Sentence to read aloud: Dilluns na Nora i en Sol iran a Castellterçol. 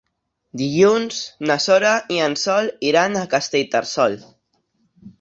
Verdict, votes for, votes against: rejected, 1, 2